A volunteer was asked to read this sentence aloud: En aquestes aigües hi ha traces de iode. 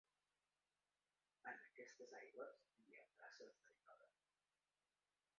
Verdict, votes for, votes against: rejected, 0, 2